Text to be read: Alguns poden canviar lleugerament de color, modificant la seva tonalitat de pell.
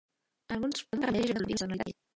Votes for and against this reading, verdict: 0, 2, rejected